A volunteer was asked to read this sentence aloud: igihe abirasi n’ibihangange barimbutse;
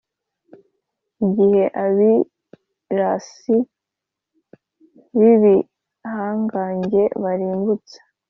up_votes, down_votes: 2, 0